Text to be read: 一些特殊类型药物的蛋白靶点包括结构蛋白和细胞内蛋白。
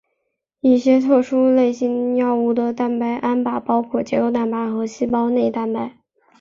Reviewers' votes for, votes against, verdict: 3, 2, accepted